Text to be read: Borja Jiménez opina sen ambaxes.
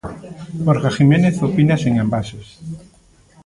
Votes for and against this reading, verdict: 1, 2, rejected